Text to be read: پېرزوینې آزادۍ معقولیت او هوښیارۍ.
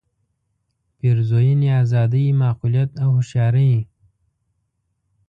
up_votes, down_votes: 2, 0